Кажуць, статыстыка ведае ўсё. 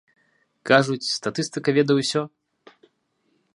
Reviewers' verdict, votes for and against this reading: accepted, 2, 0